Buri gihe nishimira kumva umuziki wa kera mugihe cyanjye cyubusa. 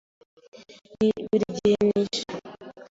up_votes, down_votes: 1, 2